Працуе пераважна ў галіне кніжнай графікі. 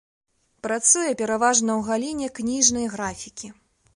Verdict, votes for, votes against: accepted, 3, 0